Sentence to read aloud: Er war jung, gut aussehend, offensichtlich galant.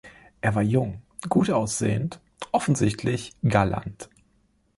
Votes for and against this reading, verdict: 2, 0, accepted